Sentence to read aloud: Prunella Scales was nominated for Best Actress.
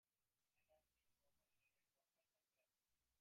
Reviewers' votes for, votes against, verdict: 0, 2, rejected